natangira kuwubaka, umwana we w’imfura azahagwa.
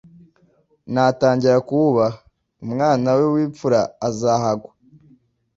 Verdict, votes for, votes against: rejected, 1, 2